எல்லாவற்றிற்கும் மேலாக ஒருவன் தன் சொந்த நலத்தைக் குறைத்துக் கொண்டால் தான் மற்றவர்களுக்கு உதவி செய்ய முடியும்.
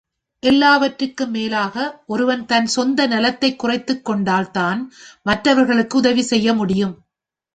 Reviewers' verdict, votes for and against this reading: accepted, 2, 0